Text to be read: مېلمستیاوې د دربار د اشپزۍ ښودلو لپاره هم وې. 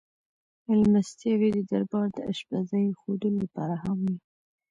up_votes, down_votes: 0, 2